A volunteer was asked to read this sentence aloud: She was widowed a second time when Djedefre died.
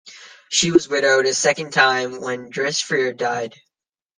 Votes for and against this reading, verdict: 1, 2, rejected